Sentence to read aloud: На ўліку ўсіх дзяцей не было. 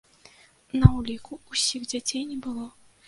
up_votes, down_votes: 2, 0